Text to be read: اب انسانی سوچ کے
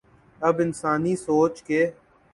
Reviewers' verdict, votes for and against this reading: accepted, 2, 0